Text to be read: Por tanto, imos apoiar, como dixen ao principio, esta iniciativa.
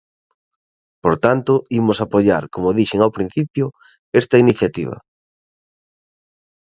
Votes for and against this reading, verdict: 2, 0, accepted